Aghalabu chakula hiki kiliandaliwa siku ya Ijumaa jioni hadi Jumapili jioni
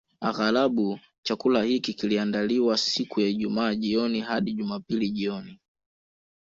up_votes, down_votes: 2, 1